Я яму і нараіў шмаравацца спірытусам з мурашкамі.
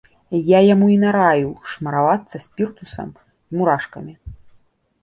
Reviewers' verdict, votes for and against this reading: rejected, 0, 2